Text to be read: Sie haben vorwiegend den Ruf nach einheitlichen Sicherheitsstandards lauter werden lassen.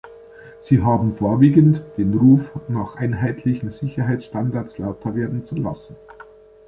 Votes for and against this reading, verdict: 1, 2, rejected